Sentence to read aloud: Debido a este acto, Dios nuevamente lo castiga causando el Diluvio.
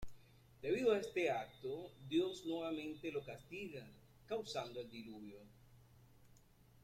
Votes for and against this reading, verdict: 2, 1, accepted